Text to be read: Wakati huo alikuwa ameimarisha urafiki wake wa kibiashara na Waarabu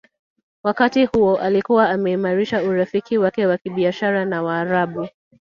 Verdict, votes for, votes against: accepted, 4, 0